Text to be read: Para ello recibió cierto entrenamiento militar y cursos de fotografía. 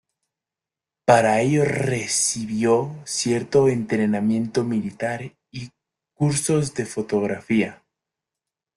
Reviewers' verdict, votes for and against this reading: accepted, 2, 0